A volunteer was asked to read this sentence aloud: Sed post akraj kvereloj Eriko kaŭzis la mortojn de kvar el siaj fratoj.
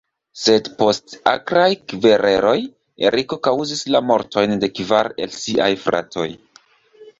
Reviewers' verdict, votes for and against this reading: accepted, 2, 0